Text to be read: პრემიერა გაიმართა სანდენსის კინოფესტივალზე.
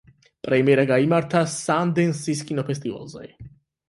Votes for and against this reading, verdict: 8, 0, accepted